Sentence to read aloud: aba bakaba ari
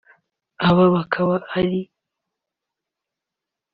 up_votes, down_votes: 0, 2